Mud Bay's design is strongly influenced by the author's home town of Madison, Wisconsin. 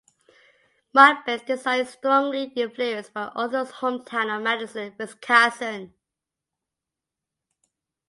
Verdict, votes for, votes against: rejected, 2, 3